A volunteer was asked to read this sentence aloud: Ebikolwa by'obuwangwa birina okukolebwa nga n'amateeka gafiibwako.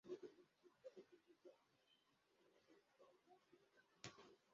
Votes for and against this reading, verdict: 0, 2, rejected